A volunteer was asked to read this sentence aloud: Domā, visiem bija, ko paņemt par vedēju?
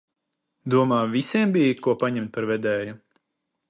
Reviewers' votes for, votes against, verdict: 2, 0, accepted